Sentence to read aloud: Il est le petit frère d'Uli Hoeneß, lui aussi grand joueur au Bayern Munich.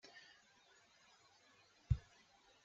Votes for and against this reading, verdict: 0, 2, rejected